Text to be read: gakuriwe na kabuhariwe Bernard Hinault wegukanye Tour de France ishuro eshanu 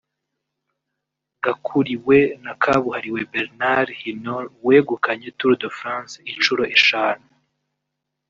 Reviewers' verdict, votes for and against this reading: rejected, 0, 2